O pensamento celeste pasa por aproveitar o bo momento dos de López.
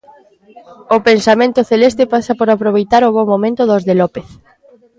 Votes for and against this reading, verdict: 2, 0, accepted